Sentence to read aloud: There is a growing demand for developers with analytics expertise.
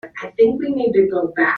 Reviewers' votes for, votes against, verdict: 0, 2, rejected